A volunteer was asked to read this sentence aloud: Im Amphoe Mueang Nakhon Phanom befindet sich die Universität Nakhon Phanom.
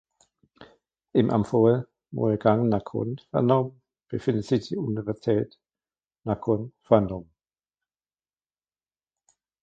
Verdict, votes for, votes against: rejected, 0, 2